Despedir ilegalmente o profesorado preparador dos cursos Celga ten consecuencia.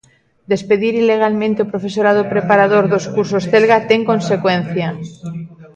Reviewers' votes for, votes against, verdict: 0, 2, rejected